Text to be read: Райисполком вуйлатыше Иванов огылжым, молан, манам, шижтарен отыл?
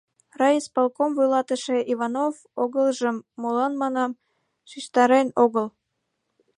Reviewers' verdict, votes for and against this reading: rejected, 1, 2